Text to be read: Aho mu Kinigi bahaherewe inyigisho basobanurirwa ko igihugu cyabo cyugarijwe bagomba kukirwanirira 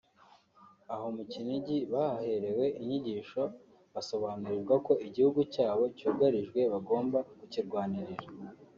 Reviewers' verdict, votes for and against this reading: accepted, 2, 0